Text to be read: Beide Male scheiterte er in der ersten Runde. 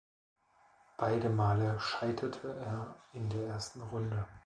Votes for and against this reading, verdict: 2, 0, accepted